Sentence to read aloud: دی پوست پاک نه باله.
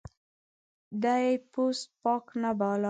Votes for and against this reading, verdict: 2, 0, accepted